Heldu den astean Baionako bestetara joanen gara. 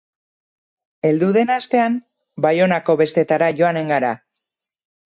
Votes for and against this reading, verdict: 2, 2, rejected